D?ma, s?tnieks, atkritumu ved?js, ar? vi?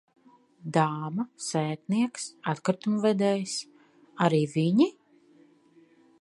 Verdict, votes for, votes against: rejected, 0, 2